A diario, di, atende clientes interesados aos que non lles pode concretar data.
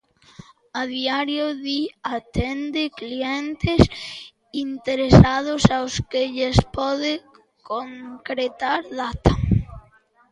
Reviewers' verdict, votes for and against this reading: rejected, 0, 2